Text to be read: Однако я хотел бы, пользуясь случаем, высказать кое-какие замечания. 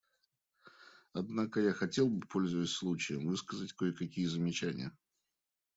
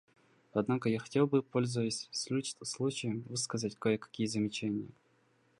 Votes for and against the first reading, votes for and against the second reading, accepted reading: 2, 0, 0, 2, first